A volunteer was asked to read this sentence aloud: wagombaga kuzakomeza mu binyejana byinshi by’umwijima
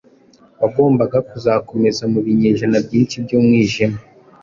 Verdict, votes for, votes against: accepted, 2, 0